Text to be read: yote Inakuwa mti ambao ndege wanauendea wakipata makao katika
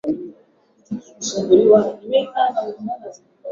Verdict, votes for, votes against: rejected, 3, 5